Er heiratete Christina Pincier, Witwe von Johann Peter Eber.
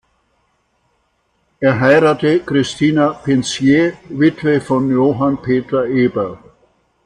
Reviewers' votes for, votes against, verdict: 0, 2, rejected